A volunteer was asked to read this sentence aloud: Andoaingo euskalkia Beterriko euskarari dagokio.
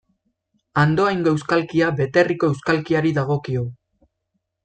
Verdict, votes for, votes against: rejected, 1, 2